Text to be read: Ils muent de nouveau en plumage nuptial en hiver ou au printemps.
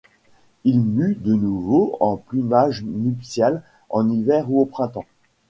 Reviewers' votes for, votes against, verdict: 2, 0, accepted